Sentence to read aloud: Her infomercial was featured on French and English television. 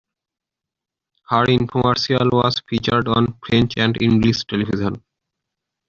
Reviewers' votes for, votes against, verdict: 1, 2, rejected